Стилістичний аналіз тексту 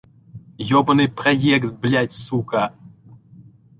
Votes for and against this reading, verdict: 0, 2, rejected